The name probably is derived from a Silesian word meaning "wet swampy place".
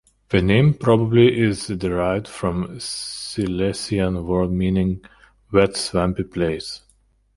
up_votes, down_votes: 1, 2